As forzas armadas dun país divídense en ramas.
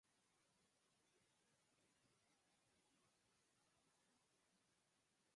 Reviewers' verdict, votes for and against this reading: rejected, 0, 4